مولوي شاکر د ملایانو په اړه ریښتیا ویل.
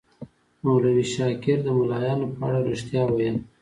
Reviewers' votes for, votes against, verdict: 2, 0, accepted